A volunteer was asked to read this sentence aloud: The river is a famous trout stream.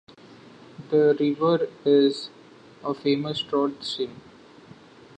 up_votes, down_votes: 2, 0